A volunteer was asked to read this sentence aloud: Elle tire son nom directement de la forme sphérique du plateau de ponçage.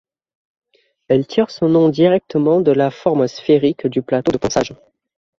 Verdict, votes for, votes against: rejected, 1, 2